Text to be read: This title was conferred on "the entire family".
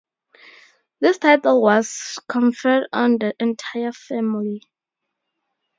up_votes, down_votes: 2, 0